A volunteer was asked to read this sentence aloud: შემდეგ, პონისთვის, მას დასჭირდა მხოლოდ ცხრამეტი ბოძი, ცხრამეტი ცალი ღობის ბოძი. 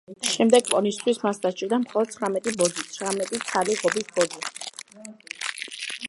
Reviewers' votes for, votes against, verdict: 1, 2, rejected